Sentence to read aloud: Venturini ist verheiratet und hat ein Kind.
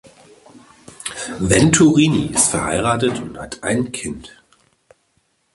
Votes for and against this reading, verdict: 2, 0, accepted